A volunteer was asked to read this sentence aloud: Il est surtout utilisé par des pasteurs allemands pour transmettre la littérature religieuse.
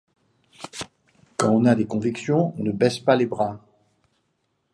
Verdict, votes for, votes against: rejected, 0, 2